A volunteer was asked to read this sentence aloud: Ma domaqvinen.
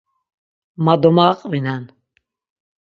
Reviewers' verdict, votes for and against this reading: accepted, 6, 0